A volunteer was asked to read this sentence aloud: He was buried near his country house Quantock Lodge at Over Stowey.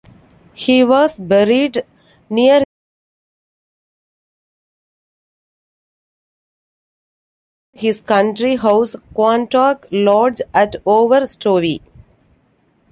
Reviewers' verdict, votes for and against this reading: rejected, 0, 2